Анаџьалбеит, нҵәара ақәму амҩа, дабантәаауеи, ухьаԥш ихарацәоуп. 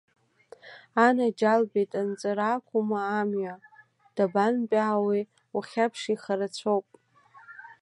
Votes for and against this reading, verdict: 1, 2, rejected